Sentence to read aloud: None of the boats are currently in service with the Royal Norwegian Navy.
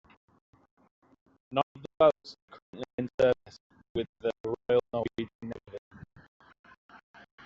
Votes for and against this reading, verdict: 0, 2, rejected